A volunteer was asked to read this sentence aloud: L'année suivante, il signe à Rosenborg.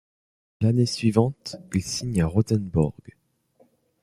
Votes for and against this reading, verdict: 0, 2, rejected